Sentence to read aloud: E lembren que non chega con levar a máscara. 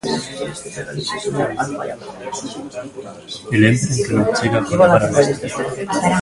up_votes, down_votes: 0, 2